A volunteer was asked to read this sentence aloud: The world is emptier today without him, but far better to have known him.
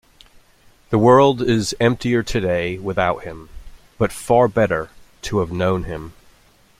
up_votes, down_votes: 2, 0